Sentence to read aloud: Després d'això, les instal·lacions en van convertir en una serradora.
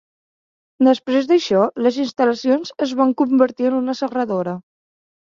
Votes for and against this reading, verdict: 2, 1, accepted